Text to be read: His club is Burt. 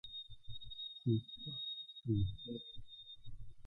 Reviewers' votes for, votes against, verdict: 1, 2, rejected